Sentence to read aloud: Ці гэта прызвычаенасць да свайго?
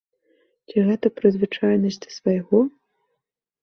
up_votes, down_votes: 2, 0